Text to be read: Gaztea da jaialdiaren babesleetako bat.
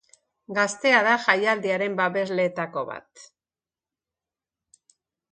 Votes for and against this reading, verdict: 3, 0, accepted